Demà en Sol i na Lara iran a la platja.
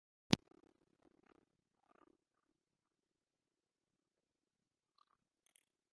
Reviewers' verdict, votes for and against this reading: rejected, 0, 2